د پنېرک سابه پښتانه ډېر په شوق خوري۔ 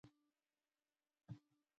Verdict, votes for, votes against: rejected, 0, 2